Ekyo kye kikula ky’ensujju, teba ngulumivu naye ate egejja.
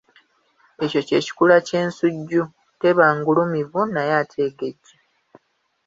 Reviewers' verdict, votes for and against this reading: accepted, 2, 0